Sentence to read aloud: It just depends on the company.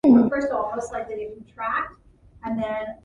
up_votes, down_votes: 0, 2